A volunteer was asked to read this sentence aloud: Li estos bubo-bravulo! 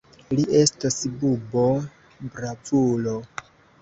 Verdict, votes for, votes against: accepted, 2, 0